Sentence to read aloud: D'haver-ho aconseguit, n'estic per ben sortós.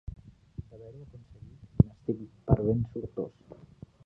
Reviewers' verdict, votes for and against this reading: rejected, 0, 2